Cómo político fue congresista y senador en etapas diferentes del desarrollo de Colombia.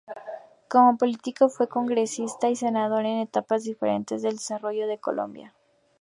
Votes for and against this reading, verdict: 2, 0, accepted